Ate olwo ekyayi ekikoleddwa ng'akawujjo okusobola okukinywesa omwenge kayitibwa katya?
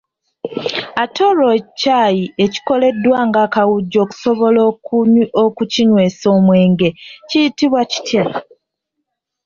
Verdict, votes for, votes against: rejected, 0, 2